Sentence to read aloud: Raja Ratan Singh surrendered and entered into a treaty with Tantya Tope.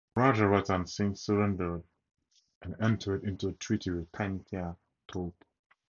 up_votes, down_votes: 0, 2